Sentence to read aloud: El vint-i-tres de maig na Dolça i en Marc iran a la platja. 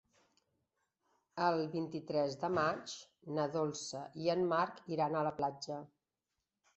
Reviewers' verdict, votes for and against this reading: accepted, 3, 0